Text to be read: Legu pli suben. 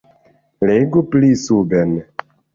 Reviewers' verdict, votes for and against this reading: accepted, 2, 0